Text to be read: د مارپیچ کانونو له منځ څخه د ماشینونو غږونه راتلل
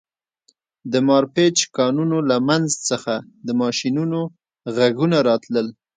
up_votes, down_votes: 2, 0